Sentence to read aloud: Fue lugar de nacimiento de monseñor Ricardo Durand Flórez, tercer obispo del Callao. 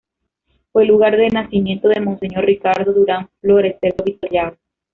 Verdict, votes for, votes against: rejected, 1, 2